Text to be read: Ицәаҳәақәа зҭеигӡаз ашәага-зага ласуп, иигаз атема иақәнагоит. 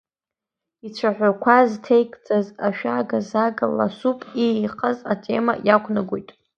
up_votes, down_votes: 2, 1